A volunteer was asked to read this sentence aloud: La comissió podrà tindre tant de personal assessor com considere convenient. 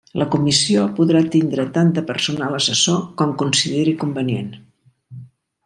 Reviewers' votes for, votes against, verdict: 2, 3, rejected